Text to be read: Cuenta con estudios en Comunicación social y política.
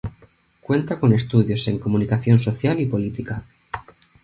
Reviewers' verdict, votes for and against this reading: accepted, 2, 0